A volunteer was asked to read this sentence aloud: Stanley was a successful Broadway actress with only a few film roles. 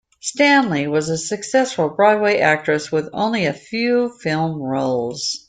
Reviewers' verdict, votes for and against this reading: accepted, 2, 0